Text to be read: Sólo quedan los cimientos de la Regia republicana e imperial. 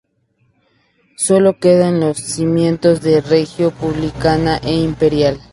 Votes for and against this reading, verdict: 0, 2, rejected